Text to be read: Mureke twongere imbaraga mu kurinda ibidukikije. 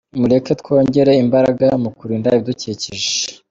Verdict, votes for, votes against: accepted, 2, 0